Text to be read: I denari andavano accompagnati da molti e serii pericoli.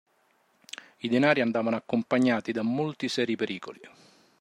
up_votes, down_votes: 1, 2